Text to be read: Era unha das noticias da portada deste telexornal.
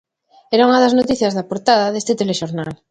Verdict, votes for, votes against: accepted, 2, 0